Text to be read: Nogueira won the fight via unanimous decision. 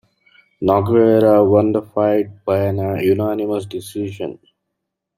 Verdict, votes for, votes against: rejected, 1, 2